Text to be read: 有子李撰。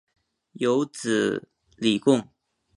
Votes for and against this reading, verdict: 6, 0, accepted